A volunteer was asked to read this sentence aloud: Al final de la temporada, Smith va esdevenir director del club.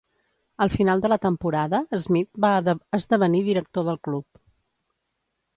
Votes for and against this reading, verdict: 1, 2, rejected